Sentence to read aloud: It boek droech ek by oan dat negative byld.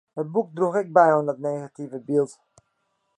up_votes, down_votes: 2, 0